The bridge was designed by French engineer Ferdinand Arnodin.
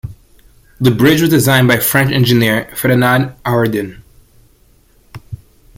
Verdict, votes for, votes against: rejected, 1, 2